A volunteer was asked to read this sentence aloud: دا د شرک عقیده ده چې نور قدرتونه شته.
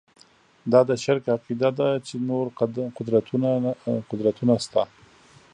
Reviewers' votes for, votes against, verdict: 2, 0, accepted